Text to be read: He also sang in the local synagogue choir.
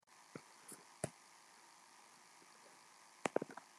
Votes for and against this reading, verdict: 0, 2, rejected